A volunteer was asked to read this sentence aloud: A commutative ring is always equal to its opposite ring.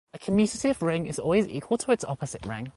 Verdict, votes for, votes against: rejected, 1, 2